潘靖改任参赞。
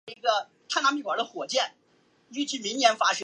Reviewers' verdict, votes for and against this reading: rejected, 0, 3